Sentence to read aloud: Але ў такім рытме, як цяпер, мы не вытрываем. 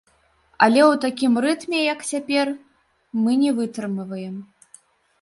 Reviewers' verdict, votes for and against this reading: rejected, 1, 2